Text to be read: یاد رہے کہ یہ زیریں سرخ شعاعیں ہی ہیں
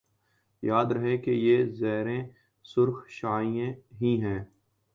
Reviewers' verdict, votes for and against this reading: accepted, 2, 0